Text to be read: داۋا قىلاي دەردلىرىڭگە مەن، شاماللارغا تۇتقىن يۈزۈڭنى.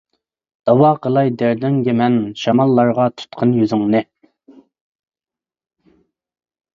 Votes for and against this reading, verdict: 0, 2, rejected